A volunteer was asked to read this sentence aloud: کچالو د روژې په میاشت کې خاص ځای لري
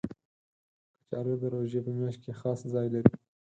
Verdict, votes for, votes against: accepted, 4, 0